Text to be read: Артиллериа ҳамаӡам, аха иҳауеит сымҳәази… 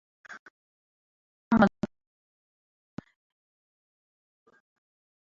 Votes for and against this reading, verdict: 0, 2, rejected